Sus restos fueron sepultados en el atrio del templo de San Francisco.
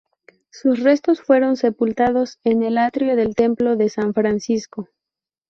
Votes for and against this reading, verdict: 4, 0, accepted